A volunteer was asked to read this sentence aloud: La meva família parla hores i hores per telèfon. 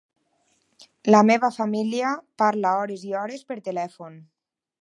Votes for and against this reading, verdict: 6, 0, accepted